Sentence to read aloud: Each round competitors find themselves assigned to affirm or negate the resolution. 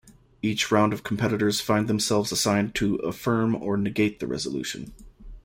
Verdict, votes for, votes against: rejected, 0, 2